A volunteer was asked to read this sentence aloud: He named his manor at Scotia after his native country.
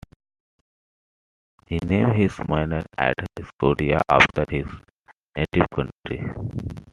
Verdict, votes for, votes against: accepted, 2, 1